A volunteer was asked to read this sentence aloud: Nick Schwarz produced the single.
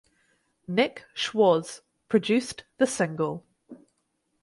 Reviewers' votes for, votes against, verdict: 2, 2, rejected